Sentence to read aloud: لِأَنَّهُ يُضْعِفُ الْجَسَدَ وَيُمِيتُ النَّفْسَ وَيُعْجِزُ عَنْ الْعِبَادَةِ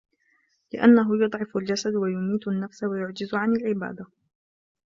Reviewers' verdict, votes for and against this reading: rejected, 1, 2